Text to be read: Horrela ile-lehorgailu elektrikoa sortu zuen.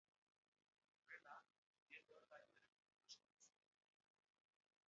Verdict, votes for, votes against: rejected, 0, 2